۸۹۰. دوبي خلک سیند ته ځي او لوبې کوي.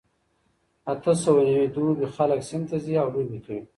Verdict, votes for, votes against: rejected, 0, 2